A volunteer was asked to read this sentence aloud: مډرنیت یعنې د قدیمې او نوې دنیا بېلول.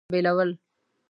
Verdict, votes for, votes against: rejected, 1, 2